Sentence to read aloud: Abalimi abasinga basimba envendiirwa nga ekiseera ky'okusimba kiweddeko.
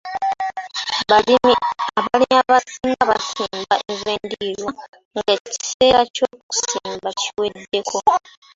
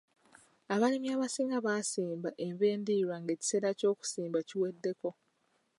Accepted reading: second